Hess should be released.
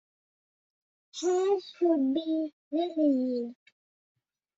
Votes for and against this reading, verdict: 0, 2, rejected